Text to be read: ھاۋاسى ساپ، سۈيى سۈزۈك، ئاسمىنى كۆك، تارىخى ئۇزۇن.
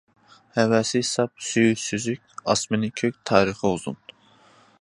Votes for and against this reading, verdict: 0, 2, rejected